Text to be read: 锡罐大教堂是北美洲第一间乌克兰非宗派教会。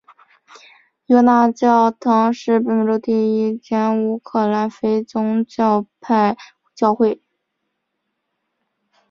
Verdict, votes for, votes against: accepted, 3, 0